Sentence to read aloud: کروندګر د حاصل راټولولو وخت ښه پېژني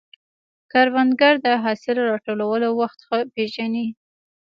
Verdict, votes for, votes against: accepted, 2, 0